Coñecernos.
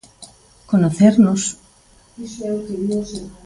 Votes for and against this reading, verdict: 0, 2, rejected